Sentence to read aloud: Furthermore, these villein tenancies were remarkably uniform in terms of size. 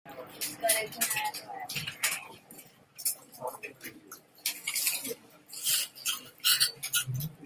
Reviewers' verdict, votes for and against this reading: rejected, 0, 2